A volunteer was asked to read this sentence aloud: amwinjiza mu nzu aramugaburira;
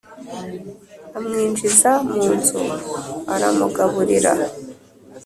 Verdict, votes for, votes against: accepted, 2, 0